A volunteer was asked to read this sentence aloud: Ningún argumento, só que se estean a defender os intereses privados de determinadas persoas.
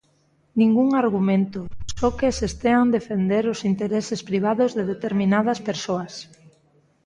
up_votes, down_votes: 1, 2